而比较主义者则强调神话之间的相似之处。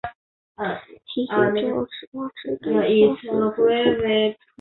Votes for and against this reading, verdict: 1, 3, rejected